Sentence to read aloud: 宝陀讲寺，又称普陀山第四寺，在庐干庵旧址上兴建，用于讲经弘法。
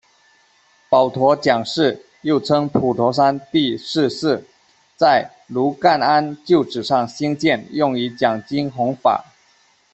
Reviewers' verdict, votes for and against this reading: rejected, 1, 2